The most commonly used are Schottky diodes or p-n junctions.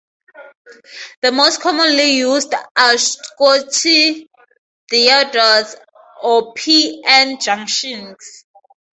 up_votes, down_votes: 0, 2